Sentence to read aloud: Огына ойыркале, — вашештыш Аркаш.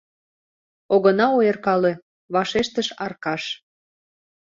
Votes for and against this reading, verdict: 2, 0, accepted